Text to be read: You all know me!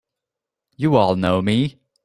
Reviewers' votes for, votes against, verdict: 2, 0, accepted